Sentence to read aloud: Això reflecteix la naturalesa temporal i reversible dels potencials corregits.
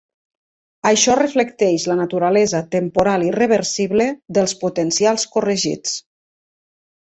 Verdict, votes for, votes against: accepted, 2, 0